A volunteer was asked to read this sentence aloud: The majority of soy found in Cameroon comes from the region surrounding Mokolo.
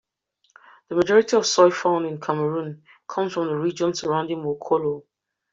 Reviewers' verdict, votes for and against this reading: accepted, 2, 0